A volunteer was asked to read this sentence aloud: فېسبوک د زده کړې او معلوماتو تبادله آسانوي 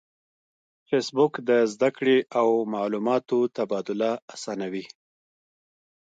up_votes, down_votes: 2, 1